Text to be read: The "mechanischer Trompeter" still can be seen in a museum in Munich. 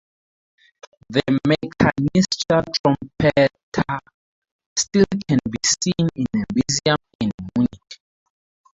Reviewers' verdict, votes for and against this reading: rejected, 0, 2